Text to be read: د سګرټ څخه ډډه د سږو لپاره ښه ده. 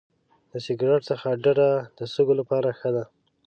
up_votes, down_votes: 2, 0